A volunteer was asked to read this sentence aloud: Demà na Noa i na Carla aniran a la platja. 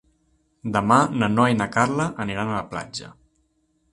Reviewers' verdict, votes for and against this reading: accepted, 2, 0